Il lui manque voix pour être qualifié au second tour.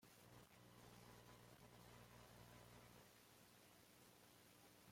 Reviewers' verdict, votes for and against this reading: rejected, 0, 2